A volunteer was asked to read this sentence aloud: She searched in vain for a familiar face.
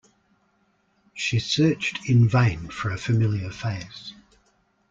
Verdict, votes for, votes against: accepted, 2, 0